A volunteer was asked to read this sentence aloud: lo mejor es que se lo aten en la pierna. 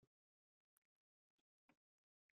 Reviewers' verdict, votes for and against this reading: rejected, 0, 2